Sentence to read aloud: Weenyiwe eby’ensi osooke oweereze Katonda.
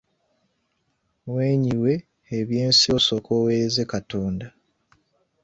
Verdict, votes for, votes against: accepted, 2, 1